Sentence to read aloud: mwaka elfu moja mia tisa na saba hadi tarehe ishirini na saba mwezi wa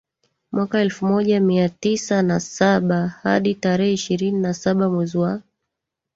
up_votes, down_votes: 1, 2